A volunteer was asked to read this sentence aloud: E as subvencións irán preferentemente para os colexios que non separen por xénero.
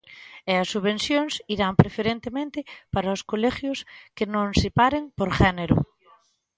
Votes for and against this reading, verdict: 1, 2, rejected